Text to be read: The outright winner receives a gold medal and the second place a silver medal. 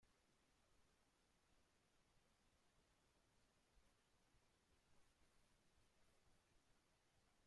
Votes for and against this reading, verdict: 0, 2, rejected